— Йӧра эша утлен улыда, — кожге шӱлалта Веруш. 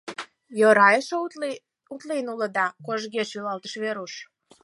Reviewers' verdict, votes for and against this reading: rejected, 0, 4